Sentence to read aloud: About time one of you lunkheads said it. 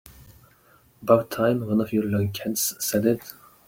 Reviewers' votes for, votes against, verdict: 1, 2, rejected